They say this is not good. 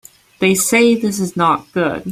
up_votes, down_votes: 3, 0